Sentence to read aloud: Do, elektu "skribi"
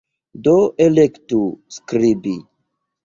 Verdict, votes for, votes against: accepted, 2, 0